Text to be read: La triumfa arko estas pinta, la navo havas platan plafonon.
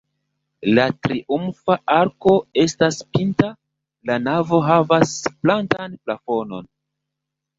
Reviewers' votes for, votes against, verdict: 0, 2, rejected